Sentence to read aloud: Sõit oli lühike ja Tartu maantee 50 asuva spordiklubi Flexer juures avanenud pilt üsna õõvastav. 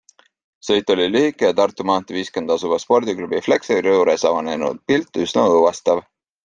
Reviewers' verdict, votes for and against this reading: rejected, 0, 2